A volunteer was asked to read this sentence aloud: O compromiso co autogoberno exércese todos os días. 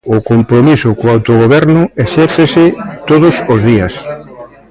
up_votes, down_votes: 2, 0